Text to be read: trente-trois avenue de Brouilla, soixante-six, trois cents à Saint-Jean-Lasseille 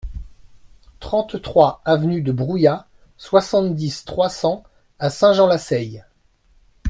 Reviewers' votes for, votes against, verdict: 1, 2, rejected